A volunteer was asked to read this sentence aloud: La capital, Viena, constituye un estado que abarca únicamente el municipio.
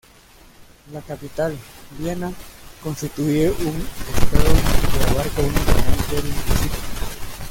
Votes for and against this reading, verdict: 0, 2, rejected